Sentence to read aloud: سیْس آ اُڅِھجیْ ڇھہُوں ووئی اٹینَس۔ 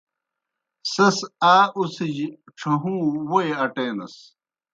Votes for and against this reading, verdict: 2, 0, accepted